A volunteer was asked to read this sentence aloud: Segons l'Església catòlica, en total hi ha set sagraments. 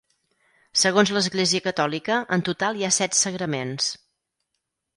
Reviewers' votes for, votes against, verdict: 4, 0, accepted